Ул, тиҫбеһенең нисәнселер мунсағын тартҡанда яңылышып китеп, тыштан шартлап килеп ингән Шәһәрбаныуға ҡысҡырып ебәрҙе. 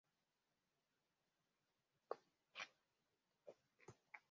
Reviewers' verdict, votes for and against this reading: rejected, 1, 2